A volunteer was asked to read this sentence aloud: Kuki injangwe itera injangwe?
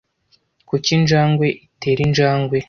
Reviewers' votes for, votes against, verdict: 2, 0, accepted